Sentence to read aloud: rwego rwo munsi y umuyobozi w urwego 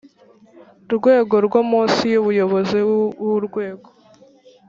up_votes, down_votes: 2, 3